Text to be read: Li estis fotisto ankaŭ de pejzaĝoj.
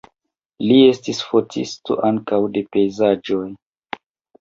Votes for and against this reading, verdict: 2, 1, accepted